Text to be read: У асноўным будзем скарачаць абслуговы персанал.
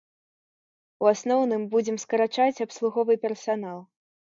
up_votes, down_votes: 2, 0